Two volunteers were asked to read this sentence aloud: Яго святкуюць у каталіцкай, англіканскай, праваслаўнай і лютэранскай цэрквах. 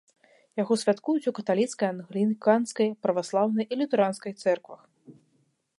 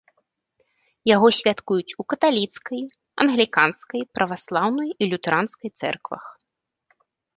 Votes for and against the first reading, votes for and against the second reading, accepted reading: 0, 3, 2, 1, second